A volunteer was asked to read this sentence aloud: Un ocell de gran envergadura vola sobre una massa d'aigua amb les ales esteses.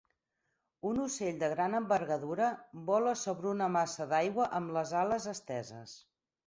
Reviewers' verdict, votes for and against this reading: accepted, 8, 0